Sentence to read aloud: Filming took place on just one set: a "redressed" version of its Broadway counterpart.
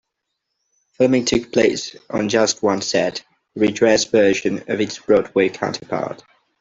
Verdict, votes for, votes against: rejected, 0, 2